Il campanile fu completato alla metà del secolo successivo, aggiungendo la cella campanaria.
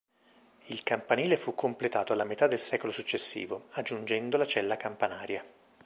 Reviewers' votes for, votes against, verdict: 2, 0, accepted